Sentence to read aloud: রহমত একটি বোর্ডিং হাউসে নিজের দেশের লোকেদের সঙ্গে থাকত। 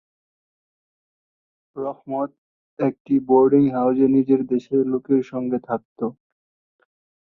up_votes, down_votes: 1, 3